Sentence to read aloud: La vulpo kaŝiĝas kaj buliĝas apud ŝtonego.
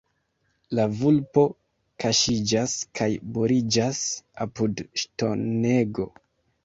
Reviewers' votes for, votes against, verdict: 2, 1, accepted